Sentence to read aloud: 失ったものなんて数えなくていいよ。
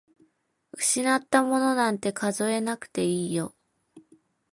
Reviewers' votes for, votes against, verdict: 2, 1, accepted